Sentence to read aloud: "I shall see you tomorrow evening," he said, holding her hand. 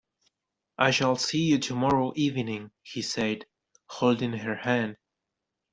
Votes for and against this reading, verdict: 0, 2, rejected